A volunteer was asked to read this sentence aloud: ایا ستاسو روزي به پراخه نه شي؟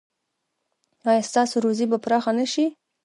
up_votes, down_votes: 2, 1